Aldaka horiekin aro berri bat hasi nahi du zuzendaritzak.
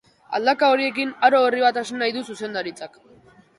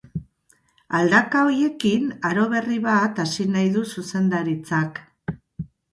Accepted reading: second